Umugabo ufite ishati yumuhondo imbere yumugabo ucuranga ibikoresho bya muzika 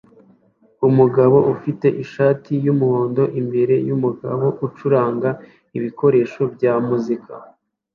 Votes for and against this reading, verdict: 2, 0, accepted